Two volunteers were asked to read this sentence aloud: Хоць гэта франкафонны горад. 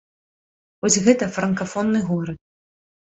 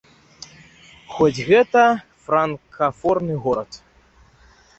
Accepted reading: first